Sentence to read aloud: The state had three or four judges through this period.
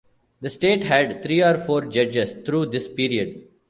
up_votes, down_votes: 2, 0